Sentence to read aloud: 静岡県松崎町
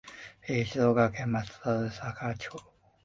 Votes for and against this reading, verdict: 0, 2, rejected